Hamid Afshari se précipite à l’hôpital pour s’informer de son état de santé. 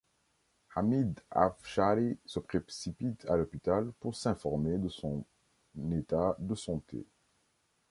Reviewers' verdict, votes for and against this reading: rejected, 2, 3